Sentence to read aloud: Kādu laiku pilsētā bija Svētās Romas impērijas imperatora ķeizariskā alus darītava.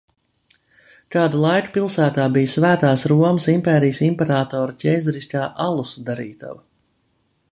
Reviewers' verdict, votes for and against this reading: accepted, 2, 0